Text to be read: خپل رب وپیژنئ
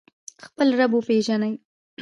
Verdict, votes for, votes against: accepted, 2, 0